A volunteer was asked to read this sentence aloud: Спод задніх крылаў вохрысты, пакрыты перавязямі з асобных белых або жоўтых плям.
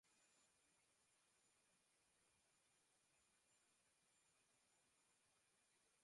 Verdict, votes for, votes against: rejected, 0, 2